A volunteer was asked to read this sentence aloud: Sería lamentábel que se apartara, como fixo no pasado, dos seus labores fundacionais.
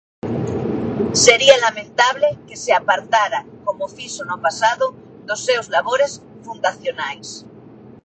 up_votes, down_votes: 0, 2